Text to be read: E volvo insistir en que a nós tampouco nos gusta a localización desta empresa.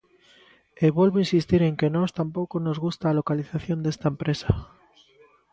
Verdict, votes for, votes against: rejected, 1, 2